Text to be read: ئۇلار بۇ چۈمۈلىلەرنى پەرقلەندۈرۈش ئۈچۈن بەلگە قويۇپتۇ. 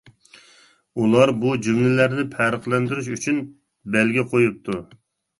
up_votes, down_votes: 0, 2